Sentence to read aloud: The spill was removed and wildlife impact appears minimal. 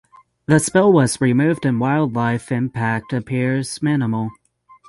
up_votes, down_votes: 6, 3